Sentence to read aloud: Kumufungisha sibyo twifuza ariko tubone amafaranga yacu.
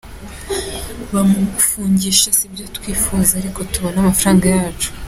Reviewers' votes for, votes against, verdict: 2, 1, accepted